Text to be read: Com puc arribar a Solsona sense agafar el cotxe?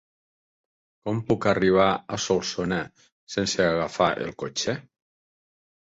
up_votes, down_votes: 3, 0